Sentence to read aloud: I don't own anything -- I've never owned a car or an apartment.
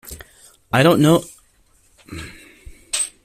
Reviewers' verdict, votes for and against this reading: rejected, 0, 2